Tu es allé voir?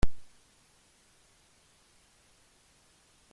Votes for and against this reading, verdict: 0, 2, rejected